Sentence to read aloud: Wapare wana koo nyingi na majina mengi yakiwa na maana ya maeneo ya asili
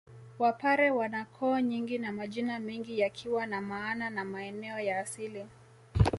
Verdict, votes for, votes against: accepted, 2, 0